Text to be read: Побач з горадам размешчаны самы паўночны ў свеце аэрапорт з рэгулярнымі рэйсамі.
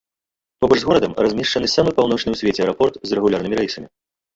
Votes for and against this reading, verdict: 0, 2, rejected